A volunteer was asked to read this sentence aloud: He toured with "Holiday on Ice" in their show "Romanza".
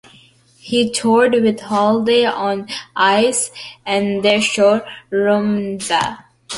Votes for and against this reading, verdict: 0, 2, rejected